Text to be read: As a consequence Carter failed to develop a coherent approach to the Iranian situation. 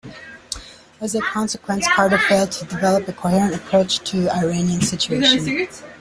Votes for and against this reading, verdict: 3, 2, accepted